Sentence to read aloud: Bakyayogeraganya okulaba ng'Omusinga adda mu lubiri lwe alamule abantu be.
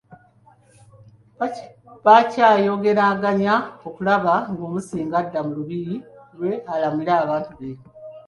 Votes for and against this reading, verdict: 2, 0, accepted